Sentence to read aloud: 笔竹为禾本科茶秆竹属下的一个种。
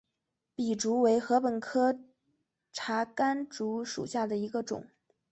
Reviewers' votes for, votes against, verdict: 3, 0, accepted